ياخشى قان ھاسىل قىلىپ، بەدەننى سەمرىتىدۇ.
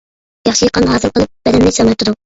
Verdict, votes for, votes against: rejected, 0, 2